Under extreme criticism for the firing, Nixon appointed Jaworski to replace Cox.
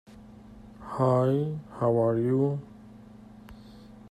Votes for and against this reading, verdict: 1, 2, rejected